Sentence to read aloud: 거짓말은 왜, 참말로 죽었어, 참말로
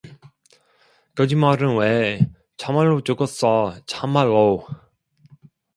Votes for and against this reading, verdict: 2, 0, accepted